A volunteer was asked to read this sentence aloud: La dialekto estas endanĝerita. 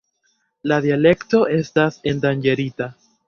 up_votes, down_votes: 1, 2